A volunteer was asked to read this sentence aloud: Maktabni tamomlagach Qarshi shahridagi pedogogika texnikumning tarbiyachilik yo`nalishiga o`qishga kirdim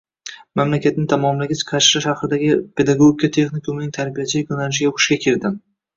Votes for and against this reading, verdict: 0, 2, rejected